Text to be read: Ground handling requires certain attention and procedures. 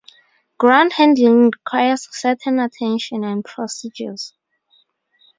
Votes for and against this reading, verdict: 2, 0, accepted